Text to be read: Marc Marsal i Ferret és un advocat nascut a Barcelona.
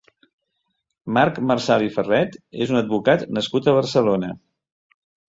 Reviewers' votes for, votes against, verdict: 2, 0, accepted